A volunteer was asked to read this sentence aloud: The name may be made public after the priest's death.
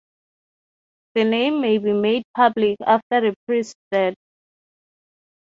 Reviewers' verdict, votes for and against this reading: rejected, 0, 3